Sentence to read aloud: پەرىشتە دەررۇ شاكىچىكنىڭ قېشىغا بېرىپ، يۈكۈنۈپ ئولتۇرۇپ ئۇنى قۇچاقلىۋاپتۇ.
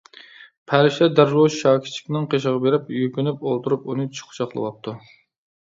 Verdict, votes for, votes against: rejected, 1, 2